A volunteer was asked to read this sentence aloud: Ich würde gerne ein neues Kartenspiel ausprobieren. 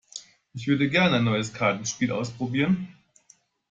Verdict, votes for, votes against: rejected, 0, 2